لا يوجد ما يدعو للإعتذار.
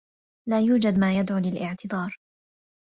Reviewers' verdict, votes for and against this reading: accepted, 2, 0